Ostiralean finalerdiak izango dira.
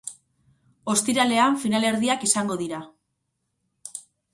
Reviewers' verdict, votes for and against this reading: accepted, 4, 0